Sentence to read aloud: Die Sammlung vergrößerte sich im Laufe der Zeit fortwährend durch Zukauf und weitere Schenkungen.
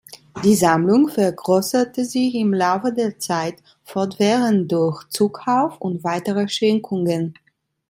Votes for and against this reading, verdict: 2, 0, accepted